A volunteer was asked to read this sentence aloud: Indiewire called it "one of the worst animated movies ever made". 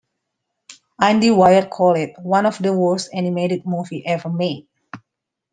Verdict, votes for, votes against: rejected, 0, 2